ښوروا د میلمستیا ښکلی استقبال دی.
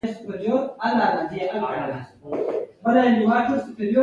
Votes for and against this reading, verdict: 1, 2, rejected